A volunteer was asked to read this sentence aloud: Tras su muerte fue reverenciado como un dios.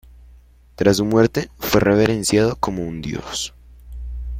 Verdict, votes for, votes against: rejected, 0, 2